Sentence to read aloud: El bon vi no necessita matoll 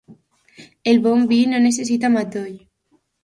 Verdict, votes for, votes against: accepted, 3, 0